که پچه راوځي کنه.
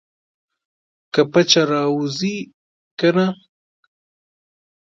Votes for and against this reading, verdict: 2, 0, accepted